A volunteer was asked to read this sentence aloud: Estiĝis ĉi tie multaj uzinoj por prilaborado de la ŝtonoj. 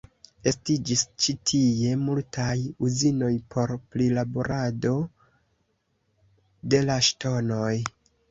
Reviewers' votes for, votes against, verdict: 1, 2, rejected